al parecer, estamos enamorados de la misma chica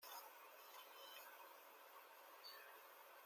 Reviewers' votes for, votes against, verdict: 0, 2, rejected